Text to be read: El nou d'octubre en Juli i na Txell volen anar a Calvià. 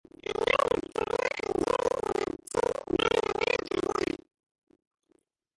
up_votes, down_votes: 1, 5